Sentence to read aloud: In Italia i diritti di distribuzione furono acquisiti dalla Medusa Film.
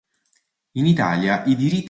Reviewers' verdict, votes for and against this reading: rejected, 0, 2